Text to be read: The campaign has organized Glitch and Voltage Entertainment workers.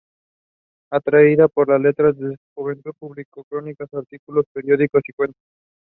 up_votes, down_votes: 0, 2